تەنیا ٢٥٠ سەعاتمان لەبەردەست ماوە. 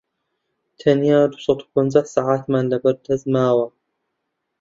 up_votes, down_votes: 0, 2